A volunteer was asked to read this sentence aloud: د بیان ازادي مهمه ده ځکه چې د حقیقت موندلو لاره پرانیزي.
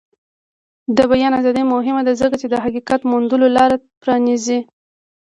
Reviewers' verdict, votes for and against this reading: accepted, 2, 1